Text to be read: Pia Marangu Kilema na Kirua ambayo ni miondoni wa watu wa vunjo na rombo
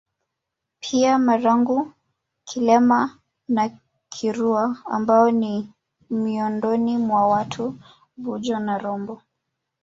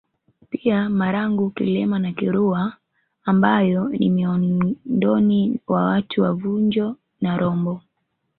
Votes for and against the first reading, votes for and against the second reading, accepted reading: 1, 3, 2, 1, second